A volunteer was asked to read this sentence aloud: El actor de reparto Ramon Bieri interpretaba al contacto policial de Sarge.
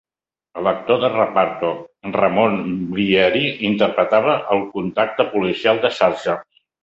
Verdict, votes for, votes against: accepted, 4, 2